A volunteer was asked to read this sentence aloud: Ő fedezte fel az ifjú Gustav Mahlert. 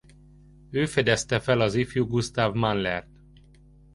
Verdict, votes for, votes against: rejected, 1, 2